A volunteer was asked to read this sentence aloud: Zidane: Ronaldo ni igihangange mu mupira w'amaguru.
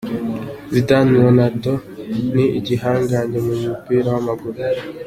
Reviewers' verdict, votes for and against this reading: accepted, 2, 0